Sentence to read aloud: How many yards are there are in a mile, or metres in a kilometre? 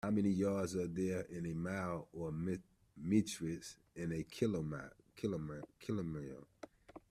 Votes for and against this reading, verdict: 0, 2, rejected